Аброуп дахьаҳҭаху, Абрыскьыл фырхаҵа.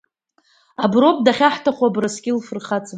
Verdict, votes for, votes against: accepted, 2, 0